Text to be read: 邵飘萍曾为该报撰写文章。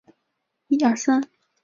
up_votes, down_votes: 0, 2